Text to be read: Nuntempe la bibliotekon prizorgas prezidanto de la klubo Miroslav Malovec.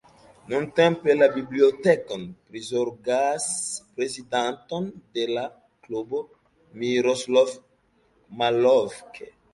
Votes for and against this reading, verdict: 0, 2, rejected